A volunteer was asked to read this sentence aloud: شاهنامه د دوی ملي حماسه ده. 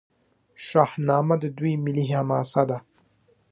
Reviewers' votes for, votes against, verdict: 1, 2, rejected